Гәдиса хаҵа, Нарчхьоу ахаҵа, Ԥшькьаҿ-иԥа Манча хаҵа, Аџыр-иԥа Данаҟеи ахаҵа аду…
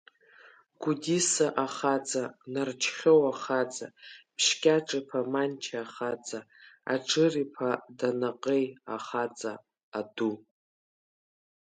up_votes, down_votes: 0, 3